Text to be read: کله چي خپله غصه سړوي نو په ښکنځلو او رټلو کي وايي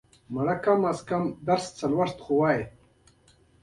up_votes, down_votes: 0, 2